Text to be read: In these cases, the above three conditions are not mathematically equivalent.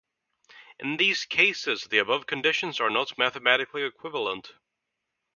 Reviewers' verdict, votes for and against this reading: rejected, 0, 2